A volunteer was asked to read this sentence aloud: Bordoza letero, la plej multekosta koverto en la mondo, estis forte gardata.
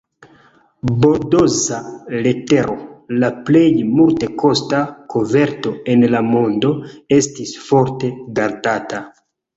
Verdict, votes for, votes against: rejected, 0, 2